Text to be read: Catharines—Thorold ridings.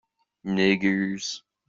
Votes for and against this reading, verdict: 0, 2, rejected